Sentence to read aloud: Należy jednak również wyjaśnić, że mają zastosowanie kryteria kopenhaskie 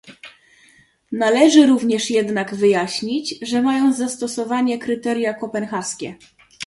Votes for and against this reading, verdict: 1, 2, rejected